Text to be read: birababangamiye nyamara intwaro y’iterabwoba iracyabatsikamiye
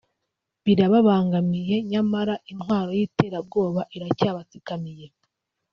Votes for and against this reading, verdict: 2, 1, accepted